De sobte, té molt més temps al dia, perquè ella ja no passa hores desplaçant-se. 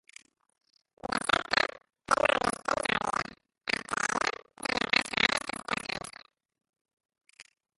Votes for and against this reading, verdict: 0, 3, rejected